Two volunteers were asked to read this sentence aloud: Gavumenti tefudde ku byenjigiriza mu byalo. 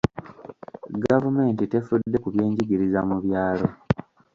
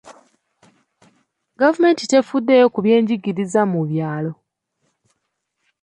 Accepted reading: first